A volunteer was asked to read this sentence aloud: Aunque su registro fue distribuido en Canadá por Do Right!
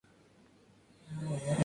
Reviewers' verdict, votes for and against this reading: rejected, 0, 2